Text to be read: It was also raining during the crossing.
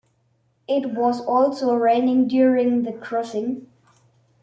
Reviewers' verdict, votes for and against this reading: accepted, 2, 0